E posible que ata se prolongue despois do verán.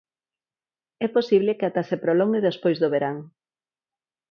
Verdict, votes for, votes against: accepted, 4, 0